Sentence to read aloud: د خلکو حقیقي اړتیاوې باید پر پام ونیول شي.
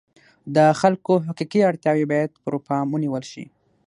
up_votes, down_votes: 6, 3